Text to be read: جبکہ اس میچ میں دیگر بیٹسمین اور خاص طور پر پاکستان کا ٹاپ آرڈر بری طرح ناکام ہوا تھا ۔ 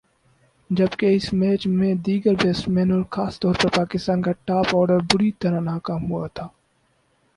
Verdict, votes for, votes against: accepted, 6, 0